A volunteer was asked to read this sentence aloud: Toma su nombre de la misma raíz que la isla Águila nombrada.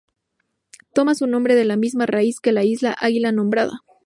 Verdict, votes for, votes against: accepted, 2, 0